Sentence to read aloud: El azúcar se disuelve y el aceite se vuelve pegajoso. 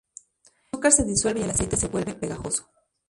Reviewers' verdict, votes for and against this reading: rejected, 0, 2